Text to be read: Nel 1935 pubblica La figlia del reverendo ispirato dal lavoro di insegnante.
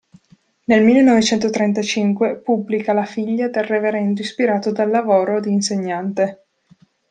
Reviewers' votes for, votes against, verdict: 0, 2, rejected